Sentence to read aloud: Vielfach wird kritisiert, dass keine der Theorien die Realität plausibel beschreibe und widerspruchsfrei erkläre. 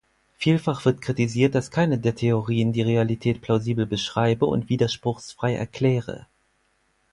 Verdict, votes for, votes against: accepted, 4, 0